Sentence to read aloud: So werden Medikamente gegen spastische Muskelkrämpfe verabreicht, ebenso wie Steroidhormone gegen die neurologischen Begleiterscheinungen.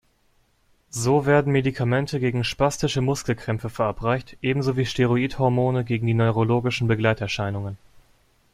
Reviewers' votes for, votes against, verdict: 2, 0, accepted